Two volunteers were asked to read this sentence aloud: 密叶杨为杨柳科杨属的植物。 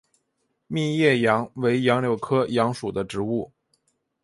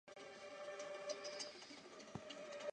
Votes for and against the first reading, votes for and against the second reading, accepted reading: 2, 0, 4, 5, first